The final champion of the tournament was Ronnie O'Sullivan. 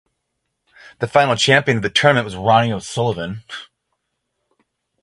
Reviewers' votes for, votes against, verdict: 0, 3, rejected